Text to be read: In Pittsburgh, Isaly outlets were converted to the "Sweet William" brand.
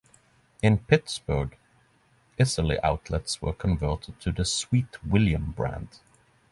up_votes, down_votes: 3, 3